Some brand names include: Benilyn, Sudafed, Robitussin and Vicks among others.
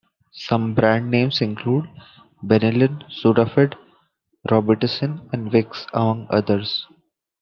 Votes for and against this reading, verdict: 2, 1, accepted